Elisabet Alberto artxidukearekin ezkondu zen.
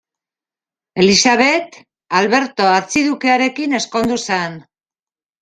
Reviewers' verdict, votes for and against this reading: rejected, 0, 2